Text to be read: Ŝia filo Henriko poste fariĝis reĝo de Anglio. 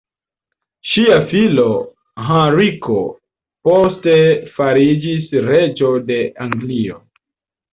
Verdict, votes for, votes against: rejected, 1, 2